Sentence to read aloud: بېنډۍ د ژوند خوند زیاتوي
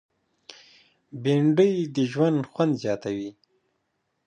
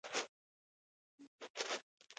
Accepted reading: first